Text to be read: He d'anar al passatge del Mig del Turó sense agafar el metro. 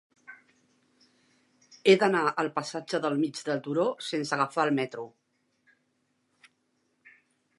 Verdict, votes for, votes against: accepted, 2, 0